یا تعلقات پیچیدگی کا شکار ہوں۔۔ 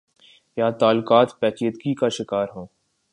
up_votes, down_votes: 2, 0